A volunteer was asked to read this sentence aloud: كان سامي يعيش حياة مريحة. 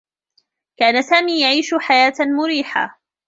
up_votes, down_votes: 0, 2